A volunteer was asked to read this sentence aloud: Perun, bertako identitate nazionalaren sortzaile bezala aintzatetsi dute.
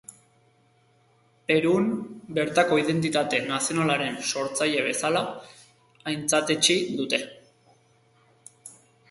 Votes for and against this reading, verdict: 2, 0, accepted